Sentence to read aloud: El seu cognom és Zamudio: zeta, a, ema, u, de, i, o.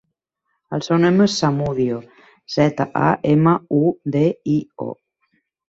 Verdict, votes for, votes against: rejected, 0, 2